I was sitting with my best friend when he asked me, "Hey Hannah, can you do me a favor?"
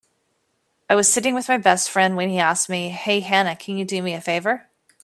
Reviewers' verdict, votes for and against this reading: accepted, 2, 0